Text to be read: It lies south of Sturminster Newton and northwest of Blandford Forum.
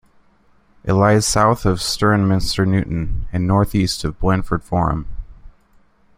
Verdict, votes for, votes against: rejected, 0, 2